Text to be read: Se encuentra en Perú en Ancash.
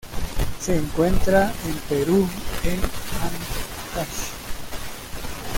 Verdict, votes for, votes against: rejected, 0, 2